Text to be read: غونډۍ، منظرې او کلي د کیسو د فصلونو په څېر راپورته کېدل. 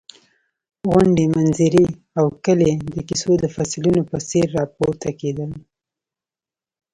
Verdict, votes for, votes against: accepted, 2, 0